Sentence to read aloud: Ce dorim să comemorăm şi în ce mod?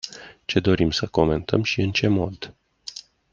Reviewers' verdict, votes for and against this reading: rejected, 0, 2